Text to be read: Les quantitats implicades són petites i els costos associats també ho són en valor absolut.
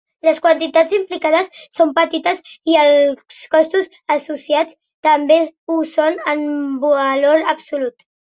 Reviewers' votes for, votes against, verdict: 0, 2, rejected